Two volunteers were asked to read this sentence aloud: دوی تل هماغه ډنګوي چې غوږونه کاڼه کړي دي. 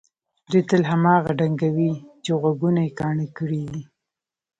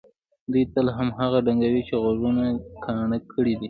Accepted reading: second